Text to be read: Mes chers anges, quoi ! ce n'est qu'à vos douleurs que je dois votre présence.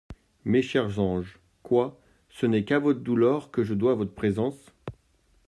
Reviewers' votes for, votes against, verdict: 0, 2, rejected